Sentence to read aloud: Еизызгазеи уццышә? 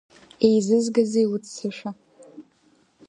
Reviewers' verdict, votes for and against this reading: rejected, 1, 2